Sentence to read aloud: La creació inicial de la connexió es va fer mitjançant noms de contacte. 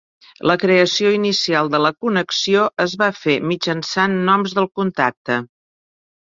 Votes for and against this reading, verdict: 0, 2, rejected